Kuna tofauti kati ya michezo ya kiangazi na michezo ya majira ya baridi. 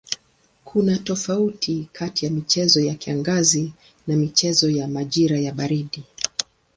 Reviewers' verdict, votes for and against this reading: accepted, 2, 0